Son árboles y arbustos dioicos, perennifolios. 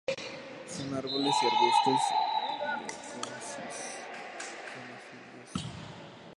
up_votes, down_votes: 0, 2